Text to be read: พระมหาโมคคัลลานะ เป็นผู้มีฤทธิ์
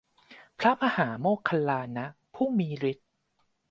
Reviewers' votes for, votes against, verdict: 0, 2, rejected